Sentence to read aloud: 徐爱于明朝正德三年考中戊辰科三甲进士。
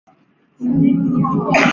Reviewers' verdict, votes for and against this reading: rejected, 0, 2